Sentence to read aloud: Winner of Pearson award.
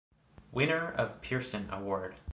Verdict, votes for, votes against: accepted, 2, 0